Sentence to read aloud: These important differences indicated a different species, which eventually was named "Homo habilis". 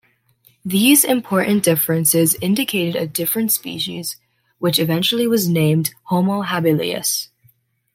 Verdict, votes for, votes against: accepted, 2, 0